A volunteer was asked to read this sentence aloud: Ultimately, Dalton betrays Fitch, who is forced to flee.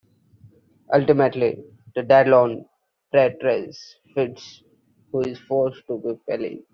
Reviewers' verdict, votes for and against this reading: rejected, 0, 2